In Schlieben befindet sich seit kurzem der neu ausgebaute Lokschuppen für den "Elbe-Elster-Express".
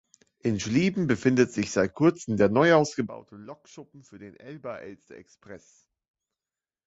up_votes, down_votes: 1, 2